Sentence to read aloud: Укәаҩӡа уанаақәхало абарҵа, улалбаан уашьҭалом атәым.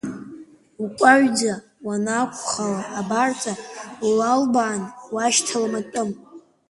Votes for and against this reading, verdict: 2, 0, accepted